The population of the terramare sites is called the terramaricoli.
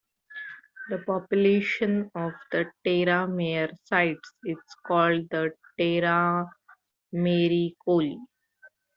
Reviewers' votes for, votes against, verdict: 1, 2, rejected